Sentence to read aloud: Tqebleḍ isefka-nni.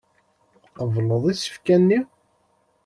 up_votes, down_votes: 2, 1